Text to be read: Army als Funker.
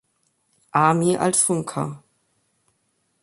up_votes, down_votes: 2, 0